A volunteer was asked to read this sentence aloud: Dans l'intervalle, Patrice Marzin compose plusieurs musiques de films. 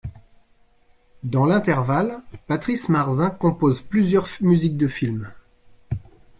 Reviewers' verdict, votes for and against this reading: rejected, 0, 2